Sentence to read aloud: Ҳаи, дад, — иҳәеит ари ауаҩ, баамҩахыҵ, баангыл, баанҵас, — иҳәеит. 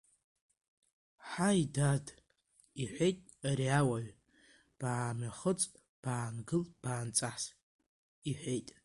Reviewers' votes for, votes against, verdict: 2, 0, accepted